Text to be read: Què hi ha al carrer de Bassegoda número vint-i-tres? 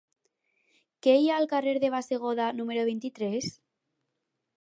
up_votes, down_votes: 2, 2